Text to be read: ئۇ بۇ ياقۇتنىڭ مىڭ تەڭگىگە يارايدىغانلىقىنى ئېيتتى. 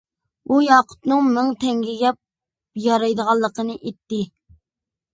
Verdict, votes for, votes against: rejected, 0, 2